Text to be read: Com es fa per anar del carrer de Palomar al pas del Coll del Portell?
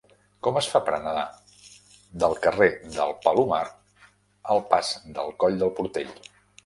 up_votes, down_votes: 0, 2